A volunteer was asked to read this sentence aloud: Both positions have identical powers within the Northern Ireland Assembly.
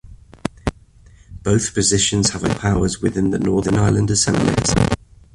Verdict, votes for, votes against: accepted, 2, 0